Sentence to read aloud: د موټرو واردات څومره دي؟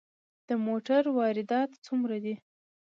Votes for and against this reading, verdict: 2, 0, accepted